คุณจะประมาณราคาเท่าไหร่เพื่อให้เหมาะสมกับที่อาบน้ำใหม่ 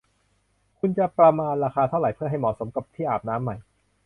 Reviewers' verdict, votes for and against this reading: accepted, 2, 0